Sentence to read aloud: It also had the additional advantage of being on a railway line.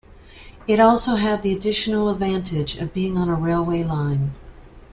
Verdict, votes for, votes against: accepted, 2, 0